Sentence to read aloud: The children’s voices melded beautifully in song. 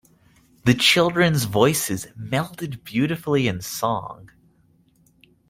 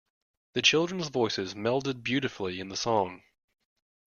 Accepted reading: first